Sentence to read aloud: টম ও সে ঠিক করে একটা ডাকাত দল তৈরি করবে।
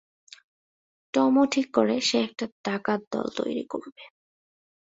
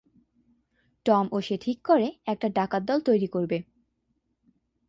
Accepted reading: second